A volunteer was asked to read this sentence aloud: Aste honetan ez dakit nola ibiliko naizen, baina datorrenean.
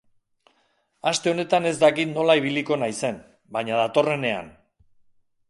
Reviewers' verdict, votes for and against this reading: accepted, 2, 0